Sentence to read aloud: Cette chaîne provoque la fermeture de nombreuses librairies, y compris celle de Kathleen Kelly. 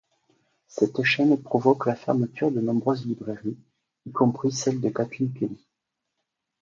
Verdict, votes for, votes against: accepted, 2, 0